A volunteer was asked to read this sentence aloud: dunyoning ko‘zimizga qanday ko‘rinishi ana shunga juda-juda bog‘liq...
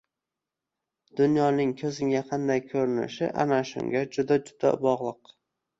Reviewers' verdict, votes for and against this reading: rejected, 1, 2